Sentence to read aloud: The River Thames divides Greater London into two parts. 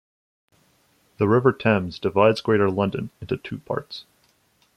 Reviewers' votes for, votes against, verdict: 2, 0, accepted